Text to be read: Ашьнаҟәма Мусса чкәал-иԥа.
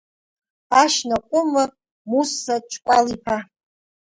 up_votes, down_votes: 1, 2